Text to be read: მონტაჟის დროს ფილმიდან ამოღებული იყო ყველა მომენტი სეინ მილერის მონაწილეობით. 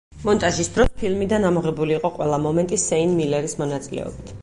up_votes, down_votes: 4, 0